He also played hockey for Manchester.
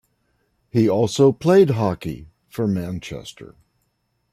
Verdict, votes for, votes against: accepted, 2, 0